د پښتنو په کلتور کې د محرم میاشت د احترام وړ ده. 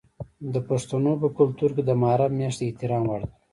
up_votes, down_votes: 0, 2